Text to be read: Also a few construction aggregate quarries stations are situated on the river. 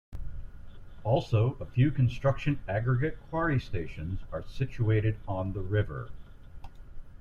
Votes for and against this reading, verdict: 2, 0, accepted